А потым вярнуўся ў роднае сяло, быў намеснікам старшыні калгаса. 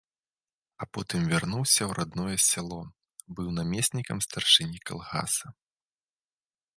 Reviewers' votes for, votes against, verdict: 1, 2, rejected